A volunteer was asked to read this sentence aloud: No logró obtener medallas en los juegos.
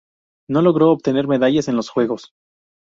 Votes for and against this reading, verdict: 2, 0, accepted